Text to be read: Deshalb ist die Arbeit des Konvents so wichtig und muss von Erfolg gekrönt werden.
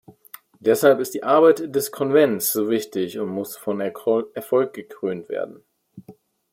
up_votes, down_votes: 1, 2